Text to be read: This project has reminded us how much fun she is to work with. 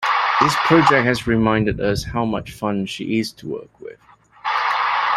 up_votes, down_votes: 2, 0